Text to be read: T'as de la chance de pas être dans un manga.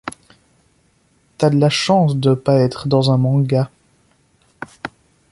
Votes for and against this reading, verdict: 2, 0, accepted